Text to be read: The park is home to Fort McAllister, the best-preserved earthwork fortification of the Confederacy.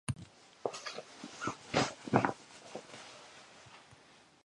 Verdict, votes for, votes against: rejected, 0, 2